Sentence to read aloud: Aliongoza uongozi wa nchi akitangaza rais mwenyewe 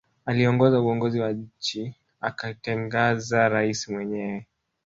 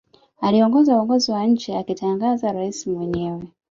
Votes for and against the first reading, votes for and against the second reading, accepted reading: 0, 2, 4, 1, second